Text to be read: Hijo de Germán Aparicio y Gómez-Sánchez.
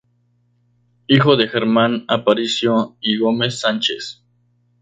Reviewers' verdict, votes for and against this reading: accepted, 2, 0